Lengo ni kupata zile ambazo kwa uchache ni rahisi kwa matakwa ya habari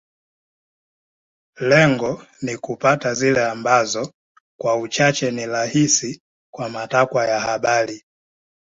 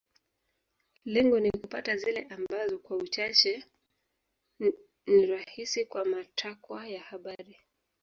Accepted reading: first